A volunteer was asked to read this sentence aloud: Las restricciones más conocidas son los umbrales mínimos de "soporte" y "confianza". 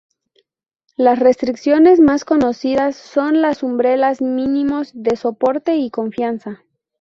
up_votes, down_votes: 0, 2